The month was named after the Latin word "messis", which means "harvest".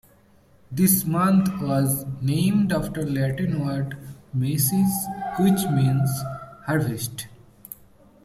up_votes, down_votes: 0, 2